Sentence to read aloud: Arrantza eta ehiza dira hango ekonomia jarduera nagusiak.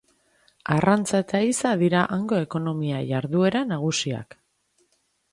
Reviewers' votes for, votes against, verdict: 2, 0, accepted